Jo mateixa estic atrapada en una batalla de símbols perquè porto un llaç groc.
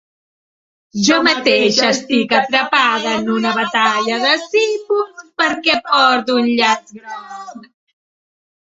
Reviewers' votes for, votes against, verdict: 0, 2, rejected